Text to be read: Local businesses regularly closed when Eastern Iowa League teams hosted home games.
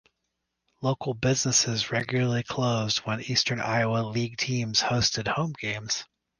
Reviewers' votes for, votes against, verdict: 6, 0, accepted